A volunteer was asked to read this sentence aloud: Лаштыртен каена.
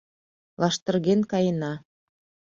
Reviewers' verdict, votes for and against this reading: rejected, 1, 2